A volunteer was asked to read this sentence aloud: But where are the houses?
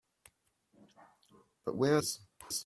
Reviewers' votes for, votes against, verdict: 0, 2, rejected